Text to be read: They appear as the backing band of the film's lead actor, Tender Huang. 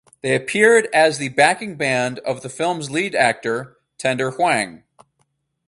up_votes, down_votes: 2, 2